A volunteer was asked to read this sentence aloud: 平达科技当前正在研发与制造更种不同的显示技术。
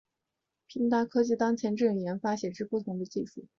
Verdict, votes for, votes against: rejected, 2, 3